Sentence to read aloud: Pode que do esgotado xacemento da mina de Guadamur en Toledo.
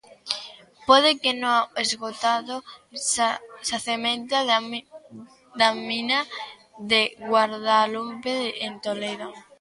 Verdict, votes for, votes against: rejected, 0, 2